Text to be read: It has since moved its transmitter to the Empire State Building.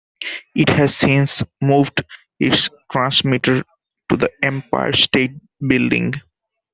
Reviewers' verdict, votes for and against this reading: accepted, 2, 0